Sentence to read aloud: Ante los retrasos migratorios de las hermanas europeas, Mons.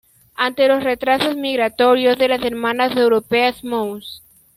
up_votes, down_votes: 2, 1